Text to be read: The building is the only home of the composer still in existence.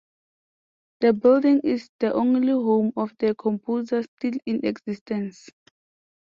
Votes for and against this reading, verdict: 2, 0, accepted